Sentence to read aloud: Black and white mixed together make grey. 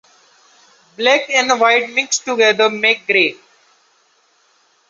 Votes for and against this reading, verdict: 2, 0, accepted